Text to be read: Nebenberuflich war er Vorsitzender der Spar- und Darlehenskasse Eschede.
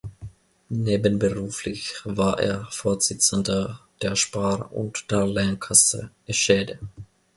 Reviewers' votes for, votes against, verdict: 0, 2, rejected